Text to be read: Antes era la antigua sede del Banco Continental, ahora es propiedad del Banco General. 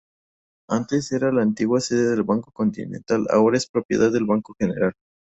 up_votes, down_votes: 2, 0